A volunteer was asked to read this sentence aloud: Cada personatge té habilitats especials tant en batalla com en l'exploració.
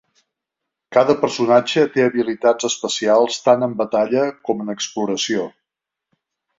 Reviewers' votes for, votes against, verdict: 0, 2, rejected